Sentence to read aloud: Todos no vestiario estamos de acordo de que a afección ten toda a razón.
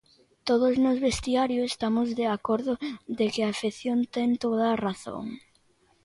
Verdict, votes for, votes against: rejected, 0, 2